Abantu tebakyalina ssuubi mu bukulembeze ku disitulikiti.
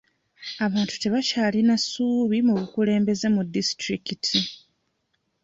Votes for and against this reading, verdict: 2, 1, accepted